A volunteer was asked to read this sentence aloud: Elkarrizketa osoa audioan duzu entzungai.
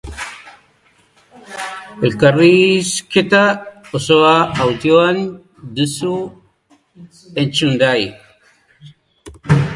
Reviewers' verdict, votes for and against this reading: rejected, 1, 2